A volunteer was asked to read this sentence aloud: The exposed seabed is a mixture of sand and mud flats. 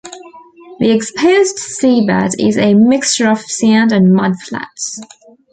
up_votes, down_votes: 2, 0